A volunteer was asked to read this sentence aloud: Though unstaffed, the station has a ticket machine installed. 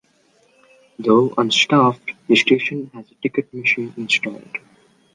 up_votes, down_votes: 2, 0